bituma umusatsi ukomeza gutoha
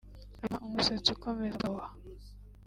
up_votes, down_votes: 1, 2